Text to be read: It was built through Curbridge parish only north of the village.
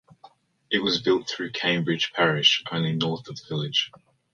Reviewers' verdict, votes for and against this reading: accepted, 2, 1